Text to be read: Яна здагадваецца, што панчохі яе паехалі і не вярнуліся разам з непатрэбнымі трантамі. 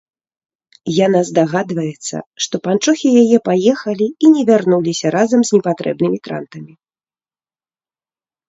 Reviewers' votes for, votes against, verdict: 3, 0, accepted